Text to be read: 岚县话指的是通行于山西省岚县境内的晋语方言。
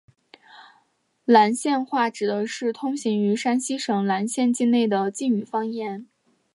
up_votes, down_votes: 2, 0